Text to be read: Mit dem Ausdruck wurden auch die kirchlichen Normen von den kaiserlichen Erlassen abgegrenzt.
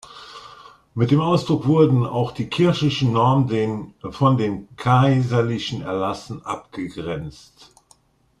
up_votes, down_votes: 0, 2